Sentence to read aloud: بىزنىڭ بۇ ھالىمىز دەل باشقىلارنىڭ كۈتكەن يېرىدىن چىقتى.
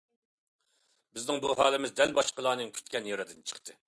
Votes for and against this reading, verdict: 2, 1, accepted